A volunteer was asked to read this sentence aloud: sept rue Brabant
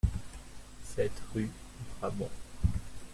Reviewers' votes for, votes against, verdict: 1, 2, rejected